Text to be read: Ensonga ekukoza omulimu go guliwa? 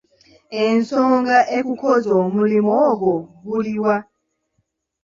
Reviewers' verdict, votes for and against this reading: rejected, 1, 2